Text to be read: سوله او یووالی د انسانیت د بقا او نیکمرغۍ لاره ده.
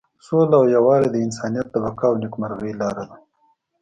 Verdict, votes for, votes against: accepted, 2, 0